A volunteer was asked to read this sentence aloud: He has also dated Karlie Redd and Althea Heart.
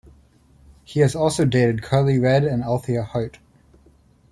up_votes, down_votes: 1, 2